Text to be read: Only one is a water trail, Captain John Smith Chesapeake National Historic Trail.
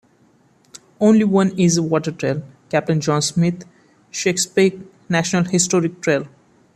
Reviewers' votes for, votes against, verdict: 2, 1, accepted